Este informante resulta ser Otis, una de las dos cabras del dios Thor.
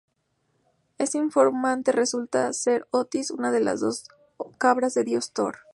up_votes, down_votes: 2, 0